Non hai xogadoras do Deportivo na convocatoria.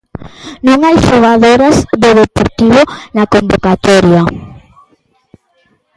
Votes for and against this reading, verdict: 2, 0, accepted